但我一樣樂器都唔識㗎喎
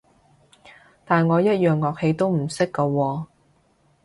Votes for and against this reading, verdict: 3, 1, accepted